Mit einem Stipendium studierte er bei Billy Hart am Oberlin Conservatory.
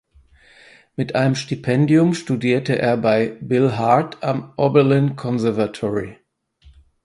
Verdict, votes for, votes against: rejected, 0, 4